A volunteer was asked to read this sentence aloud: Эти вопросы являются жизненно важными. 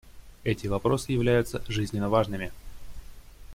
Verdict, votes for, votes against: accepted, 2, 0